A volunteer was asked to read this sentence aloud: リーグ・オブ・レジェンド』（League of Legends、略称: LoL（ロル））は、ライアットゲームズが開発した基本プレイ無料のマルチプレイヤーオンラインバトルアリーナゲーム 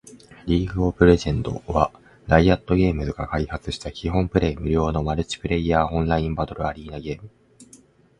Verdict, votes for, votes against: accepted, 2, 0